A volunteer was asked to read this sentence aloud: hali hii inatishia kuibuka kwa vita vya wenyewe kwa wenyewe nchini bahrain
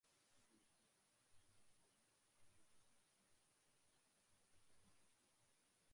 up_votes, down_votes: 0, 3